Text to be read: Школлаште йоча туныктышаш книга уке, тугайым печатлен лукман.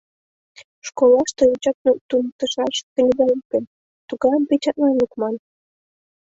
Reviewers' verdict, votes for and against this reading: rejected, 0, 2